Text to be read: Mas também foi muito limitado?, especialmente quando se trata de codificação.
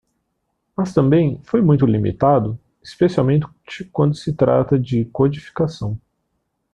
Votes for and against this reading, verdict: 1, 2, rejected